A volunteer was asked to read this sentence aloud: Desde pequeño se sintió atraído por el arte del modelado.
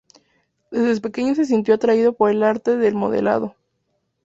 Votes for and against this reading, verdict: 2, 0, accepted